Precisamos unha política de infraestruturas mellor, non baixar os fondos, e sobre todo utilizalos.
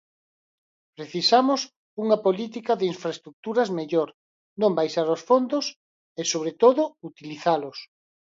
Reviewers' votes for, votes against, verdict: 12, 0, accepted